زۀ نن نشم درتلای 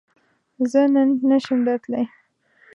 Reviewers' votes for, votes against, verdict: 2, 0, accepted